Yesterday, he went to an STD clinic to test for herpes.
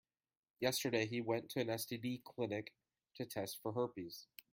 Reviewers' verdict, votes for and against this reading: accepted, 2, 1